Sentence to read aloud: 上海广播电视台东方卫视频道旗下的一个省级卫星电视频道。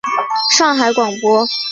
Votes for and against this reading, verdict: 0, 3, rejected